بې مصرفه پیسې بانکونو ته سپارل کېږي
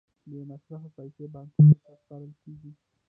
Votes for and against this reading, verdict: 1, 2, rejected